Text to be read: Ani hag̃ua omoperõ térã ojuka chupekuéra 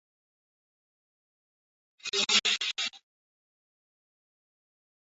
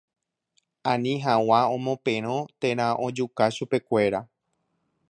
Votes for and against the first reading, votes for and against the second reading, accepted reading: 0, 2, 2, 0, second